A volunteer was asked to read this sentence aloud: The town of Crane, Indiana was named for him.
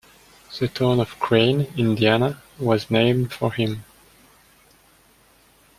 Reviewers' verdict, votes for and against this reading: accepted, 2, 0